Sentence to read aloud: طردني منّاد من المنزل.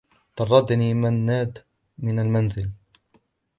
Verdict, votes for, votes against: accepted, 2, 0